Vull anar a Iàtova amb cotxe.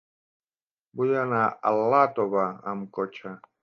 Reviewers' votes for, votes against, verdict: 3, 2, accepted